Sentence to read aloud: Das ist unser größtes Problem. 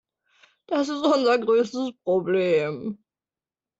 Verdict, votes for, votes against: accepted, 2, 1